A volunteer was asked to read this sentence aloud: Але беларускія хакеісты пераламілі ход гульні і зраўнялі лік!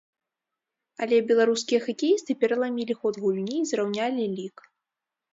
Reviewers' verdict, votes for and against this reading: accepted, 2, 0